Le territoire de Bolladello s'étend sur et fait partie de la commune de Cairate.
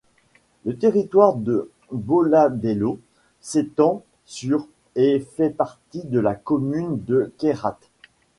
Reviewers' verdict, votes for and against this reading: accepted, 2, 0